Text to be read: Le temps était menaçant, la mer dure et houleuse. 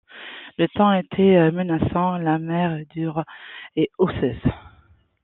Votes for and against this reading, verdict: 0, 2, rejected